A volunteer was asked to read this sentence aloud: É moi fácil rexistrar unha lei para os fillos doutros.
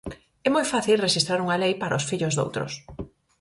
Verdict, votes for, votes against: accepted, 4, 0